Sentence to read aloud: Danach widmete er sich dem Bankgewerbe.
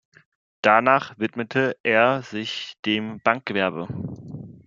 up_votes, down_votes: 2, 0